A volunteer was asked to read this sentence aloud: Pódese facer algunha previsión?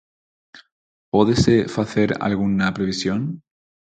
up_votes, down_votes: 0, 4